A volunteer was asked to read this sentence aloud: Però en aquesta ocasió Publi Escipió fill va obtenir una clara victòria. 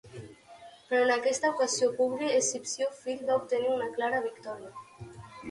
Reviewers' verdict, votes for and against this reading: rejected, 0, 2